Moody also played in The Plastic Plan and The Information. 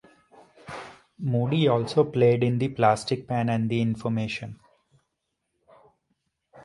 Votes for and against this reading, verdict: 1, 2, rejected